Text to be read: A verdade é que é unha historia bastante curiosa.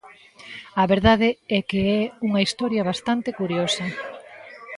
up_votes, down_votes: 2, 1